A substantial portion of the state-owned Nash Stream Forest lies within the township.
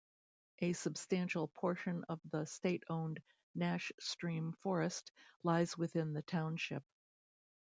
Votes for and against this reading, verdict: 2, 0, accepted